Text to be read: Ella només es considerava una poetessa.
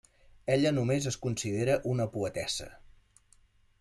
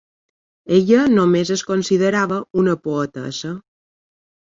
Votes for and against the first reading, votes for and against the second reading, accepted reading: 1, 2, 4, 0, second